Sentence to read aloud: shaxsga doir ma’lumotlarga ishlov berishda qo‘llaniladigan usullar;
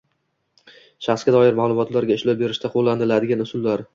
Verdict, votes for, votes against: accepted, 2, 0